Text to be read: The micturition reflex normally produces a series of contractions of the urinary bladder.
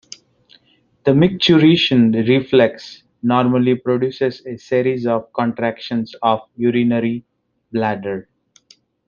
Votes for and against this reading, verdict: 1, 2, rejected